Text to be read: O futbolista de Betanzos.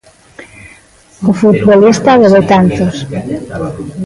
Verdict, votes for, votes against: rejected, 1, 2